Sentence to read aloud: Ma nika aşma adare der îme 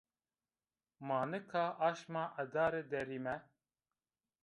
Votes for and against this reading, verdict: 2, 0, accepted